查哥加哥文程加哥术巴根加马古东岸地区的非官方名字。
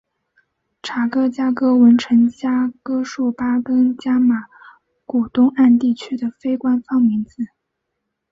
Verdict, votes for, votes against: accepted, 3, 1